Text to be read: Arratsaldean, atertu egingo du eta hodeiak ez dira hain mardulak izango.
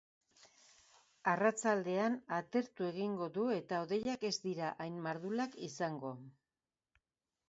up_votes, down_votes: 2, 0